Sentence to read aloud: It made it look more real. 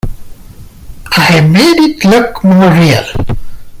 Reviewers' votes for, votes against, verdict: 0, 2, rejected